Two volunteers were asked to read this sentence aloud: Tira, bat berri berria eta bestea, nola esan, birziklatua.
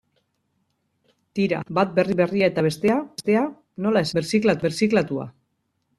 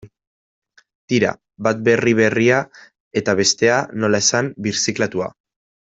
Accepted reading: second